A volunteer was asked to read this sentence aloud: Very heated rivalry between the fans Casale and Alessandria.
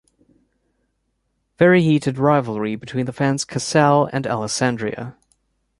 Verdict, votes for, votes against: accepted, 2, 0